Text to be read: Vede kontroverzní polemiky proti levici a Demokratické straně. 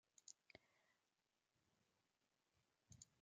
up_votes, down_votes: 0, 2